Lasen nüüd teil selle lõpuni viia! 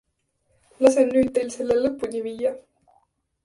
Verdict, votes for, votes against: accepted, 2, 0